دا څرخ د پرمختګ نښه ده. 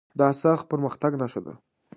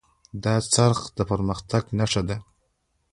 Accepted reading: first